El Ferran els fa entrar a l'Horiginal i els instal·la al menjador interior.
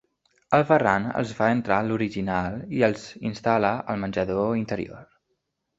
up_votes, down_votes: 2, 0